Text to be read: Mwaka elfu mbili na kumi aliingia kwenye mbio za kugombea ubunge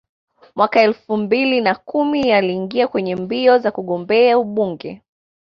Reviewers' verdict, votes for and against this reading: accepted, 2, 0